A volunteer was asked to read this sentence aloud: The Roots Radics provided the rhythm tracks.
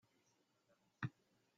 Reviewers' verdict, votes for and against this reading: rejected, 0, 2